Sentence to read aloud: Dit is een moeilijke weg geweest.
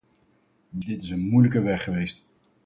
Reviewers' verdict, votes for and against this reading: rejected, 2, 2